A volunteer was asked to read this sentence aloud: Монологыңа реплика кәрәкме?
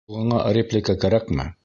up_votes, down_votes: 0, 2